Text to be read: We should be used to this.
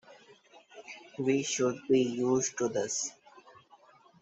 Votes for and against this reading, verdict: 3, 1, accepted